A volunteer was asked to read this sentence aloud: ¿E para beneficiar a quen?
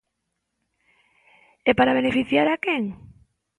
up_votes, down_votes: 2, 0